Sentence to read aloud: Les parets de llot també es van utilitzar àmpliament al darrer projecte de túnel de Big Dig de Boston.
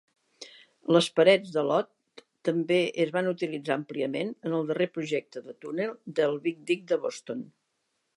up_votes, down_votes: 1, 2